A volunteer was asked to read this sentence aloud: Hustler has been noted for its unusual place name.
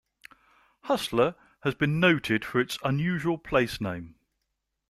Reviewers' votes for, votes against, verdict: 2, 1, accepted